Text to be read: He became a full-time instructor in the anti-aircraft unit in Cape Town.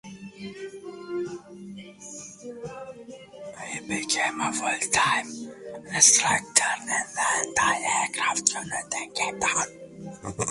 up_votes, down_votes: 0, 2